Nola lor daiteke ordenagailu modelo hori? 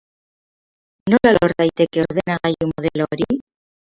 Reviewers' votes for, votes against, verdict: 0, 2, rejected